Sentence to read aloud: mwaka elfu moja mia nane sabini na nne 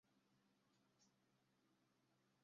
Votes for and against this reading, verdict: 0, 2, rejected